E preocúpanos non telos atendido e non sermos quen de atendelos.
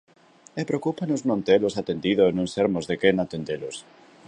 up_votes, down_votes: 0, 2